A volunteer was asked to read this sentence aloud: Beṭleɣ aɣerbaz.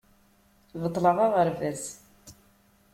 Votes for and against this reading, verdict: 2, 0, accepted